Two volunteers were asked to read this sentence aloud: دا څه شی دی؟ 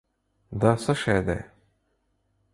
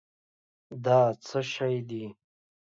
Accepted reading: first